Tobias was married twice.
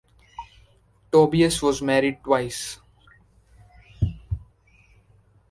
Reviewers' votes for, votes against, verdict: 2, 0, accepted